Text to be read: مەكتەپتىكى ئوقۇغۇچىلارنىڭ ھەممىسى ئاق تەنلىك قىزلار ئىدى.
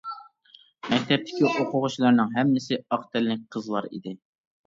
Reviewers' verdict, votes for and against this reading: accepted, 2, 0